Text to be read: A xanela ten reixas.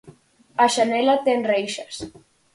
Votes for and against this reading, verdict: 4, 0, accepted